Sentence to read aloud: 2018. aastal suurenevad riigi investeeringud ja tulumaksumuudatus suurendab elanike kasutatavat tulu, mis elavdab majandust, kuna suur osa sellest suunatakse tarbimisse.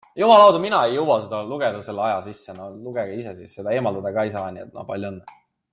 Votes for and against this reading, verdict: 0, 2, rejected